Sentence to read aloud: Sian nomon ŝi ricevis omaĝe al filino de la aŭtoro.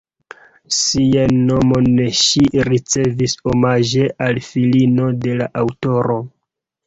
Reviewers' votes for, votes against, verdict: 1, 2, rejected